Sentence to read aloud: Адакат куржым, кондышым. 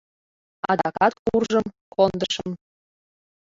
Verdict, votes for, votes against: accepted, 2, 1